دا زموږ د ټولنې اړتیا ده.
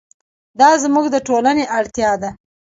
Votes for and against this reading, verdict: 2, 0, accepted